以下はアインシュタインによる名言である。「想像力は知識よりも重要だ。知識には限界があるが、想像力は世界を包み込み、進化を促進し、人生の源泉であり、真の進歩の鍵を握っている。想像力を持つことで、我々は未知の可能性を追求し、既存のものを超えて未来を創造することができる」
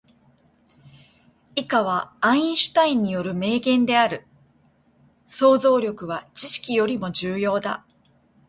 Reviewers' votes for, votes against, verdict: 0, 2, rejected